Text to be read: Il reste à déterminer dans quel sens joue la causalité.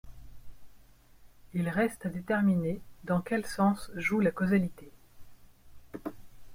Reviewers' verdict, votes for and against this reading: accepted, 2, 0